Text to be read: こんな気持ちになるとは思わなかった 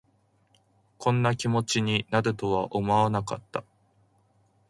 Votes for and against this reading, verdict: 2, 0, accepted